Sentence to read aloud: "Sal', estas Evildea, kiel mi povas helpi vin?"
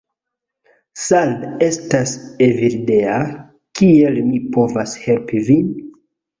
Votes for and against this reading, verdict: 0, 2, rejected